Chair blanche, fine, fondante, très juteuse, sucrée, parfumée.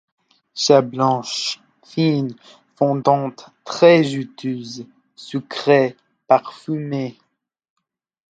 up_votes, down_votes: 2, 0